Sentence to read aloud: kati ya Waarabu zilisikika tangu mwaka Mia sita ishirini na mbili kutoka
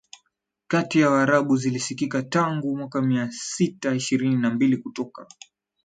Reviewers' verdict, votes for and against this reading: accepted, 4, 0